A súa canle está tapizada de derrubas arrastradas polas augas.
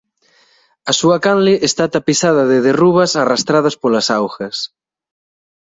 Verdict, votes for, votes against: accepted, 2, 0